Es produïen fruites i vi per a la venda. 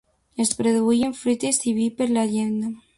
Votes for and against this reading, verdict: 0, 2, rejected